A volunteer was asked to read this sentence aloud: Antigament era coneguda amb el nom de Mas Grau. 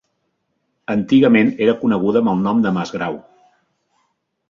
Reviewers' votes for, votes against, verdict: 2, 0, accepted